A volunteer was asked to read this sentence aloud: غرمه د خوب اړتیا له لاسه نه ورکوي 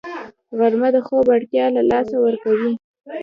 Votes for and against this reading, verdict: 0, 2, rejected